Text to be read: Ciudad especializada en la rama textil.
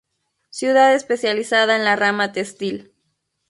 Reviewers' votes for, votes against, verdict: 2, 0, accepted